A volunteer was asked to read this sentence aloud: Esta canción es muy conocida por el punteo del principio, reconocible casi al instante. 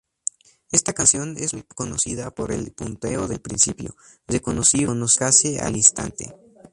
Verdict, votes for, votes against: accepted, 2, 0